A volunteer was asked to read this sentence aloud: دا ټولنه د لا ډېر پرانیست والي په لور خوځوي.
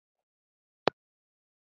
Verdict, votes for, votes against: rejected, 1, 2